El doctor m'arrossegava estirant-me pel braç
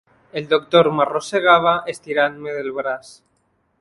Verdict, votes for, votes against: rejected, 0, 2